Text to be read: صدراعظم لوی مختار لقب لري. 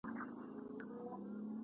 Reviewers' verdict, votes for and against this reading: rejected, 1, 2